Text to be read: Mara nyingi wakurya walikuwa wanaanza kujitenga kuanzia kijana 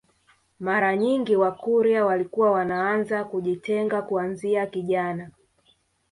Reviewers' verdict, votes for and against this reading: rejected, 1, 2